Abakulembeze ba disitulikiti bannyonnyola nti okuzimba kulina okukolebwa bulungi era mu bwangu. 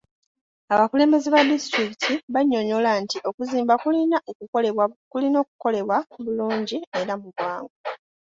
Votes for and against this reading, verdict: 1, 3, rejected